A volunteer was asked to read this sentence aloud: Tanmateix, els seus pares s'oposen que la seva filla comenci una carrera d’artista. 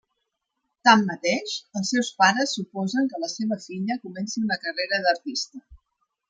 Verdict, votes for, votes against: rejected, 1, 2